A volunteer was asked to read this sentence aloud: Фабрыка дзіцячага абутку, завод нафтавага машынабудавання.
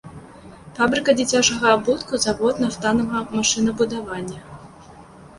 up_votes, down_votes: 0, 2